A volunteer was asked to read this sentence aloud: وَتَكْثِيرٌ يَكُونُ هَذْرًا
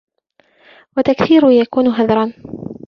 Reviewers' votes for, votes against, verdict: 1, 2, rejected